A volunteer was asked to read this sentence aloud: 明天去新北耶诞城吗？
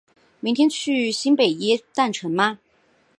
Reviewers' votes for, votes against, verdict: 5, 0, accepted